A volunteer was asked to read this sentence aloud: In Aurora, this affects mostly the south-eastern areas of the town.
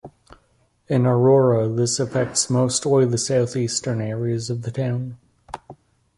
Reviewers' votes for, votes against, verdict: 2, 0, accepted